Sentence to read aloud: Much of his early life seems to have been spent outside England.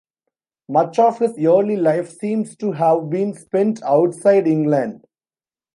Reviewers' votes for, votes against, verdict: 0, 2, rejected